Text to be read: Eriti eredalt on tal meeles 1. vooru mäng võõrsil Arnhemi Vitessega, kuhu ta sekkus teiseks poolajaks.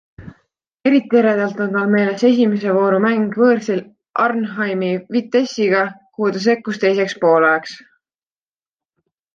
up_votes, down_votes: 0, 2